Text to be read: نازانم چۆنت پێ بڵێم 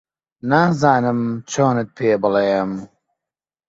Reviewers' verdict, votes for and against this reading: accepted, 2, 0